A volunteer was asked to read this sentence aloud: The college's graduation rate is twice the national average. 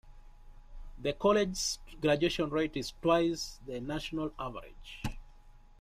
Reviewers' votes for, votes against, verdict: 0, 2, rejected